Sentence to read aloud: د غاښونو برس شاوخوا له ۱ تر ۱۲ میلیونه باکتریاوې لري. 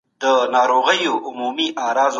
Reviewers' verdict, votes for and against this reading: rejected, 0, 2